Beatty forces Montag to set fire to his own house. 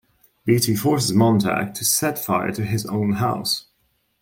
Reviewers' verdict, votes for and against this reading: accepted, 2, 0